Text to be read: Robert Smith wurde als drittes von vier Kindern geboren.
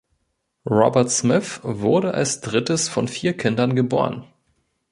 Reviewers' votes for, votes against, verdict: 1, 2, rejected